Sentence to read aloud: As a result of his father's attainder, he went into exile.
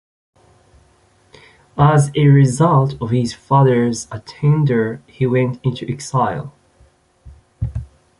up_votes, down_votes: 2, 0